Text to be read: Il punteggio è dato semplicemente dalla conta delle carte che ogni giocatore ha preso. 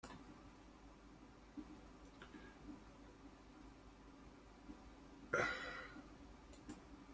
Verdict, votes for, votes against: rejected, 0, 2